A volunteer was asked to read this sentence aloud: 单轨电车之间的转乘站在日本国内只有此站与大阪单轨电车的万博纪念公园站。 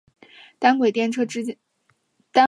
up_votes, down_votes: 2, 3